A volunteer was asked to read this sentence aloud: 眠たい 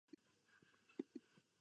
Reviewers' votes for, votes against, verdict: 0, 2, rejected